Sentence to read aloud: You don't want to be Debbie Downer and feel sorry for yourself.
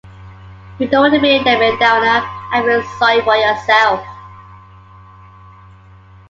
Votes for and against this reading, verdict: 1, 2, rejected